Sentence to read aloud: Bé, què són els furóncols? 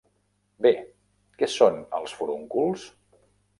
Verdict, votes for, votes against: rejected, 1, 2